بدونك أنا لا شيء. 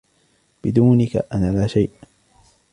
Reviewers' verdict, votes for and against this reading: accepted, 3, 0